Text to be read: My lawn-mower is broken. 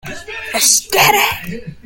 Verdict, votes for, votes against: rejected, 0, 2